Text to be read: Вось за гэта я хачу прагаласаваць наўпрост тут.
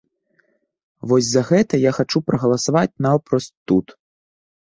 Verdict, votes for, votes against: rejected, 1, 2